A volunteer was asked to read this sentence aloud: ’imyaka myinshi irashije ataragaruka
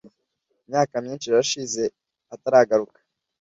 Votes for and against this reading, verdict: 2, 0, accepted